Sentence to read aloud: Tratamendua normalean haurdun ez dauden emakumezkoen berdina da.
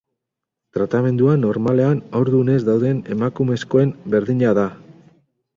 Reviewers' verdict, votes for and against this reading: accepted, 2, 0